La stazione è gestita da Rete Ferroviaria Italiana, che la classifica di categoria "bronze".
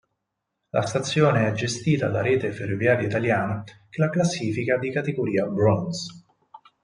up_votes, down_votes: 6, 0